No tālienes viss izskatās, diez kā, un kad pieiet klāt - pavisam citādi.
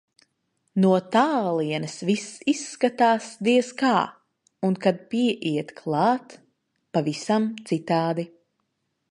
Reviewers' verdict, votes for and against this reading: accepted, 2, 0